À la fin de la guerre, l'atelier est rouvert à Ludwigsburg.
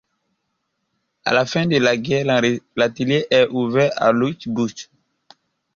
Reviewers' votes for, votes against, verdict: 1, 2, rejected